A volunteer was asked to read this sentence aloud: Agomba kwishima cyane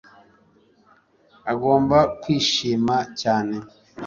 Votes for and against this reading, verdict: 2, 0, accepted